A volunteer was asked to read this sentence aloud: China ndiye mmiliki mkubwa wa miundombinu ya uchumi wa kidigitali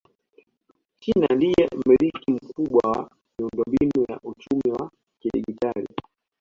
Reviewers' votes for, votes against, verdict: 2, 0, accepted